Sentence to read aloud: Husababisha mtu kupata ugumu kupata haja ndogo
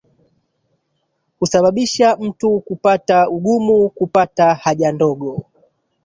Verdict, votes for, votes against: rejected, 1, 2